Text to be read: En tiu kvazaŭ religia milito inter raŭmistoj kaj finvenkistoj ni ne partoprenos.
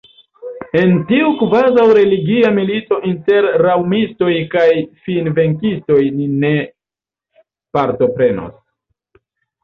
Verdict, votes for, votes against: accepted, 2, 1